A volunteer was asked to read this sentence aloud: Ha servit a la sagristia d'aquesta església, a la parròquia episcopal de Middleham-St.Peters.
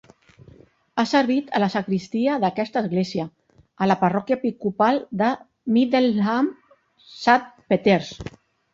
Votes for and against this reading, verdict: 0, 2, rejected